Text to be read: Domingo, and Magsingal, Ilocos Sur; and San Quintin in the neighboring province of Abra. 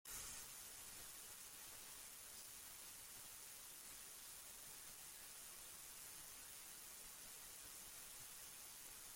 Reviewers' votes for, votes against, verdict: 0, 2, rejected